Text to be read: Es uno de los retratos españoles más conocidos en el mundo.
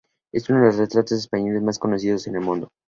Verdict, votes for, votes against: accepted, 2, 0